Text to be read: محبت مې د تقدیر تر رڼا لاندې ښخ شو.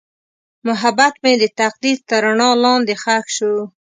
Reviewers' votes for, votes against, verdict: 2, 0, accepted